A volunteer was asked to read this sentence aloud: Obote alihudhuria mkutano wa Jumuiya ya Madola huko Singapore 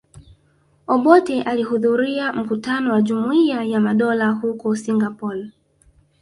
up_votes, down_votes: 2, 1